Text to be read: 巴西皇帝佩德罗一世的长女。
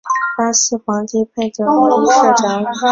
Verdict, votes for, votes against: rejected, 0, 2